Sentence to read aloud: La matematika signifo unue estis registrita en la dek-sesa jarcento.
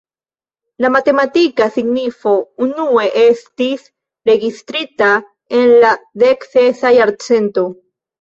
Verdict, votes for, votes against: rejected, 1, 2